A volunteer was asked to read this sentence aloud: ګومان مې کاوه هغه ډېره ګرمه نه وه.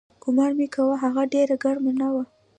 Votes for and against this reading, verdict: 2, 0, accepted